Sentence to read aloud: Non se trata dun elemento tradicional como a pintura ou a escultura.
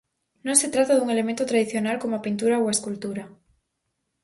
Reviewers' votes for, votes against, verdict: 4, 0, accepted